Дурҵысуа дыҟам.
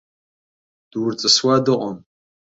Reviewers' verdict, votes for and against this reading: accepted, 2, 0